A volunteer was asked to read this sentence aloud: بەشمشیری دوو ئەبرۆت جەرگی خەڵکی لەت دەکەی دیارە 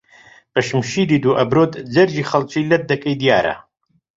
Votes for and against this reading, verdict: 2, 0, accepted